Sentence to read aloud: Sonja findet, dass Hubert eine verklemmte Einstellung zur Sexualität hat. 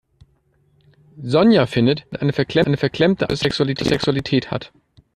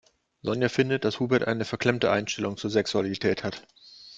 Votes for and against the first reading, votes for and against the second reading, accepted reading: 0, 2, 2, 0, second